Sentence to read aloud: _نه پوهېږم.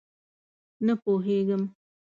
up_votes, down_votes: 2, 0